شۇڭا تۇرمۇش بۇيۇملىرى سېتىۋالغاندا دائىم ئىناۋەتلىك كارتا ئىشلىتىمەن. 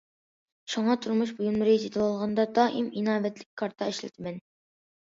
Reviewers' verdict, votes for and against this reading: accepted, 2, 0